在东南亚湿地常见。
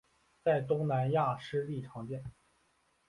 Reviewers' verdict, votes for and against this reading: accepted, 2, 0